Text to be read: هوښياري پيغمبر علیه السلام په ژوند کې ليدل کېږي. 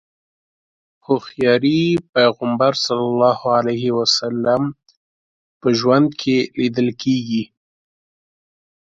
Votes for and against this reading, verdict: 0, 2, rejected